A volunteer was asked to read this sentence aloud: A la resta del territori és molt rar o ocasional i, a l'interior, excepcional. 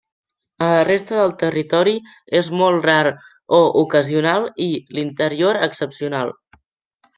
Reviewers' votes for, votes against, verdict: 0, 2, rejected